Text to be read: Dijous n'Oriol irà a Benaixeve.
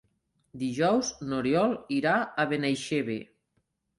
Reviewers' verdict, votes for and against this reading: accepted, 3, 0